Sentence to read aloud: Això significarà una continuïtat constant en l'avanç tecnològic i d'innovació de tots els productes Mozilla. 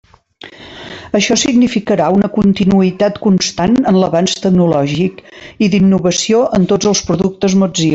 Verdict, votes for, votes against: rejected, 0, 2